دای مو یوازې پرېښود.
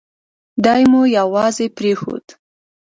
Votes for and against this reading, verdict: 2, 0, accepted